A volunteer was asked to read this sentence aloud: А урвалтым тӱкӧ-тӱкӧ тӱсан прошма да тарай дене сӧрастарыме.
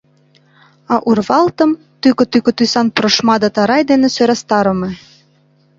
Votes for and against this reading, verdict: 2, 0, accepted